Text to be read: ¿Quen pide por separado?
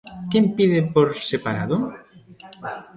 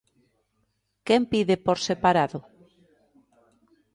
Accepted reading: second